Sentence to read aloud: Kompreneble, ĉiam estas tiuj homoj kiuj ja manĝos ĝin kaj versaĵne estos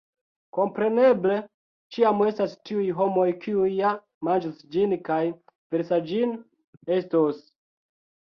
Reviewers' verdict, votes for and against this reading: rejected, 0, 2